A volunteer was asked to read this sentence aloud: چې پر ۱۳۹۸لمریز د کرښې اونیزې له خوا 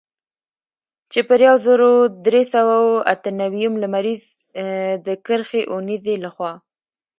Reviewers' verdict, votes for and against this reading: rejected, 0, 2